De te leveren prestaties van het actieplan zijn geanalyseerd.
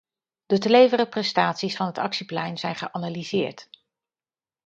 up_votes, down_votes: 0, 2